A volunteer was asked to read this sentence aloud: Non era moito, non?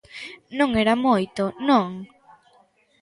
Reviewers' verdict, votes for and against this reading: accepted, 2, 0